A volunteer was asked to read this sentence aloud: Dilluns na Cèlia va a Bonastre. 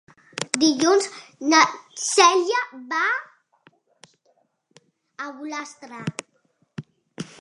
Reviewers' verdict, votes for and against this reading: rejected, 1, 2